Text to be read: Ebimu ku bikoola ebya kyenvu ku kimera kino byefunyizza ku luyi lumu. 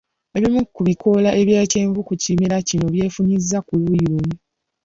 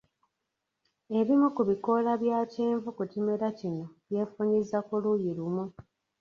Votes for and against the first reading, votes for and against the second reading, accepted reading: 2, 0, 0, 2, first